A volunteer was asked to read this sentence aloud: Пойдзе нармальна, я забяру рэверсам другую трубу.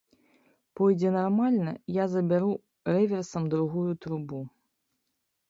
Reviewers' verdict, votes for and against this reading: accepted, 3, 0